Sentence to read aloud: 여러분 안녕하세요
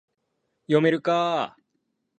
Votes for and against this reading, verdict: 0, 2, rejected